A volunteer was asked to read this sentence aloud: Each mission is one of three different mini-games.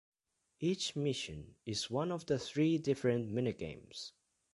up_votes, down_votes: 1, 2